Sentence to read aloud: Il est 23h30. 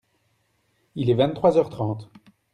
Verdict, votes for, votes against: rejected, 0, 2